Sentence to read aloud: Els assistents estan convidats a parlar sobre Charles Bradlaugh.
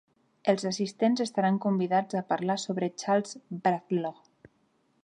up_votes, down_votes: 1, 2